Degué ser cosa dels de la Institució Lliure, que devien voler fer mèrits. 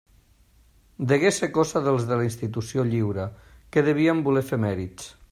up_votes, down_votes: 2, 0